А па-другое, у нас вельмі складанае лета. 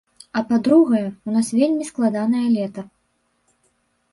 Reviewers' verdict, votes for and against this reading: rejected, 1, 3